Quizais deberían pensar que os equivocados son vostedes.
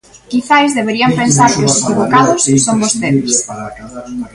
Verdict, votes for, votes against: rejected, 1, 2